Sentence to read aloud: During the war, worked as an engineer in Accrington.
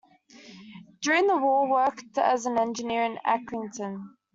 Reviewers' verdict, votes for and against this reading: accepted, 2, 0